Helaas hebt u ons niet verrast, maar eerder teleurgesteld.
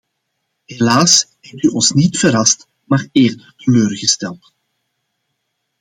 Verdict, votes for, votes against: accepted, 2, 0